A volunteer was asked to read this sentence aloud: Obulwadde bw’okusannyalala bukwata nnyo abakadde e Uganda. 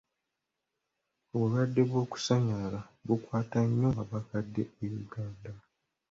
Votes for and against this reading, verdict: 2, 0, accepted